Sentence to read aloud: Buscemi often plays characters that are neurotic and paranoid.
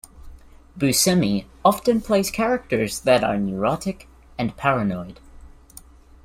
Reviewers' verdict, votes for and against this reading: accepted, 2, 0